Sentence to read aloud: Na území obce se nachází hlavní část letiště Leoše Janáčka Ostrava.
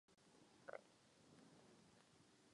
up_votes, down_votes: 0, 2